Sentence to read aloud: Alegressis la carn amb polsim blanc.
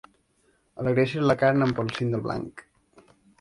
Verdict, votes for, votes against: rejected, 1, 2